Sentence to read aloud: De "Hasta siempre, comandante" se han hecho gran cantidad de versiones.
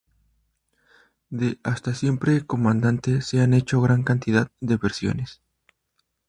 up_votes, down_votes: 4, 0